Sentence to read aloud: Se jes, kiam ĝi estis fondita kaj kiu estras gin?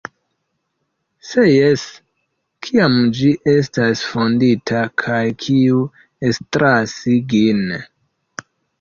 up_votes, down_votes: 2, 3